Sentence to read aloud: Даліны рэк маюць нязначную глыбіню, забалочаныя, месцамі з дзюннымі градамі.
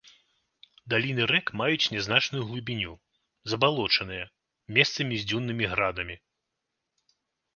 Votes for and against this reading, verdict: 2, 0, accepted